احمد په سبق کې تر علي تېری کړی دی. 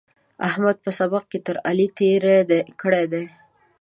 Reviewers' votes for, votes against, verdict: 2, 0, accepted